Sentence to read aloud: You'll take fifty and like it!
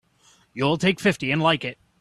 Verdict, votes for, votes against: accepted, 3, 0